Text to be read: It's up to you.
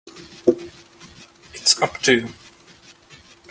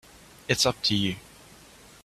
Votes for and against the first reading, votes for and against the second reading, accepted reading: 1, 2, 2, 0, second